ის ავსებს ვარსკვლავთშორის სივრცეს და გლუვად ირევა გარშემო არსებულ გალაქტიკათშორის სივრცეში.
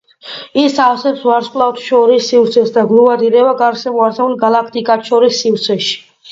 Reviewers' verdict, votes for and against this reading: accepted, 2, 1